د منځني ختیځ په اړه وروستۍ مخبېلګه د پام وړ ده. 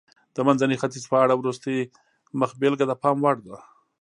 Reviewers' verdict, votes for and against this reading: accepted, 2, 0